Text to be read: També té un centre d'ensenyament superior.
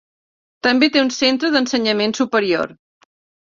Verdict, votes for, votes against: accepted, 3, 0